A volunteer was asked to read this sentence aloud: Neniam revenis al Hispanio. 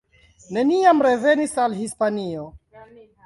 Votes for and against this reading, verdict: 3, 2, accepted